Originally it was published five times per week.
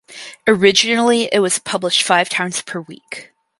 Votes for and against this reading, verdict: 4, 0, accepted